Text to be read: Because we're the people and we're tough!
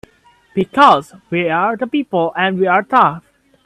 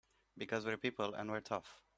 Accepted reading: first